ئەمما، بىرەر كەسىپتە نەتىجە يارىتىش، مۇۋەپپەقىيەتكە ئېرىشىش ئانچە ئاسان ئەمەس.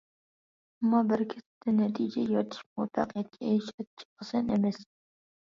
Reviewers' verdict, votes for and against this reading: rejected, 1, 2